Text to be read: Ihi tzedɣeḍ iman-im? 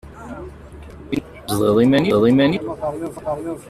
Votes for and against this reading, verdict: 0, 2, rejected